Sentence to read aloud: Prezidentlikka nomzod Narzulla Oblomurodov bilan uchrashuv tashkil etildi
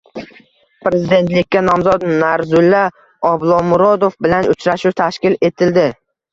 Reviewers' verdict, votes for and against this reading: rejected, 1, 2